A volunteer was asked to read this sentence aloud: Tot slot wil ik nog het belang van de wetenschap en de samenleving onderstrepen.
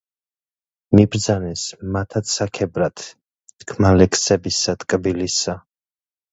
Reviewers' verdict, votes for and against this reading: rejected, 0, 2